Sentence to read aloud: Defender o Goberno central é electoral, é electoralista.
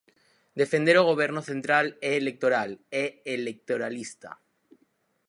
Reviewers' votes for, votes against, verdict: 4, 0, accepted